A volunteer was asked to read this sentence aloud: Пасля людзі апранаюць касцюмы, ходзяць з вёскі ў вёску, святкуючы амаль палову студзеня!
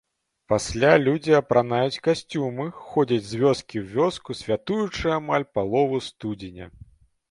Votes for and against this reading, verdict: 0, 2, rejected